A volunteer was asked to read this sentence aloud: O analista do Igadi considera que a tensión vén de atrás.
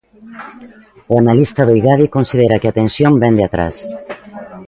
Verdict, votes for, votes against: accepted, 2, 0